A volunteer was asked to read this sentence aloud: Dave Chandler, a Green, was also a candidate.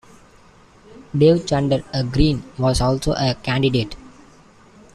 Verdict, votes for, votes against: accepted, 2, 1